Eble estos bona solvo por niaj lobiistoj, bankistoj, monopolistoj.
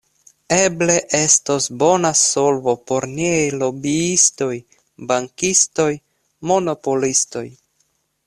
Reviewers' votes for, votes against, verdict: 2, 0, accepted